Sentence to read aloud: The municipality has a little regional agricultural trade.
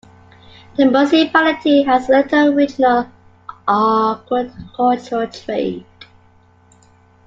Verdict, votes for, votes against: rejected, 1, 2